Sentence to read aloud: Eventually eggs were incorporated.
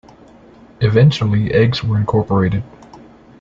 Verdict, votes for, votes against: accepted, 2, 0